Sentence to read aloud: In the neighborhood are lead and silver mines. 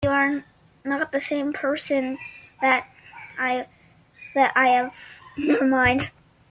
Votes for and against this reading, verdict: 0, 2, rejected